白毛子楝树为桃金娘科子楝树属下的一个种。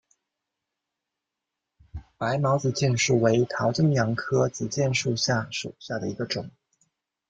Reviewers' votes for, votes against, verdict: 1, 2, rejected